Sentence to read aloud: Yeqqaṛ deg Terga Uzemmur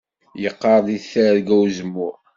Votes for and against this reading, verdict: 2, 0, accepted